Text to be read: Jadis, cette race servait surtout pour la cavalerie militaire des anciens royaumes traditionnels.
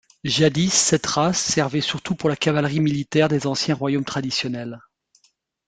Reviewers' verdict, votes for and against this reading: accepted, 2, 1